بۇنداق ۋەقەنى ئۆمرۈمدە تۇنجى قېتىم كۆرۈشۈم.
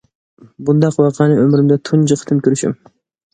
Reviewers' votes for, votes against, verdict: 2, 0, accepted